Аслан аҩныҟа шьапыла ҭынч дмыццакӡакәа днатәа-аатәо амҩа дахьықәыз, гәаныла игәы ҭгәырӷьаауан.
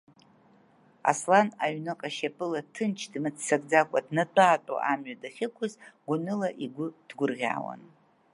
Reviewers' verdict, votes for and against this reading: accepted, 2, 0